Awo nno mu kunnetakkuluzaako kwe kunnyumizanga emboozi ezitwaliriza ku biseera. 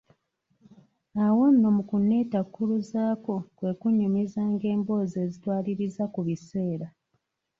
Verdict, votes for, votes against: accepted, 2, 0